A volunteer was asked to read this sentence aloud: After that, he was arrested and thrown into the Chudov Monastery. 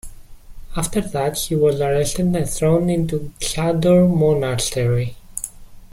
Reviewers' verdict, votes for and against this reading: rejected, 0, 2